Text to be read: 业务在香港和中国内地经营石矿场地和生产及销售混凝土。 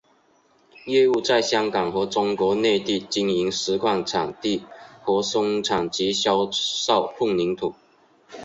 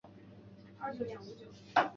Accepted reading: first